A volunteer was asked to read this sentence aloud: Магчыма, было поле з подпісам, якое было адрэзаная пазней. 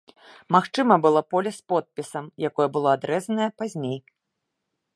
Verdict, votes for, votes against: rejected, 1, 2